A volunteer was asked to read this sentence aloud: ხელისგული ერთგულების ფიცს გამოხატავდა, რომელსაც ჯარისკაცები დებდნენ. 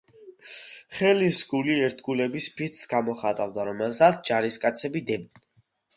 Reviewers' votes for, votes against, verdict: 2, 1, accepted